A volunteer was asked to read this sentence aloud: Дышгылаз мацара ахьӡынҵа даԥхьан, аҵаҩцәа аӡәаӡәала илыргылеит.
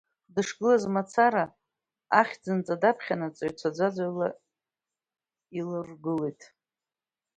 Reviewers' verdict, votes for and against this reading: rejected, 0, 2